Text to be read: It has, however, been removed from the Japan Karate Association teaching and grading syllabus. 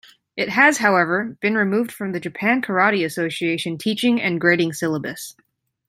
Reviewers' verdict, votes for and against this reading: accepted, 2, 0